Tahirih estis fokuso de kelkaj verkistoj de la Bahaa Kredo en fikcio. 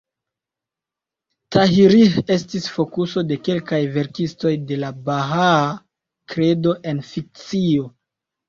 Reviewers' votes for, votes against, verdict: 1, 2, rejected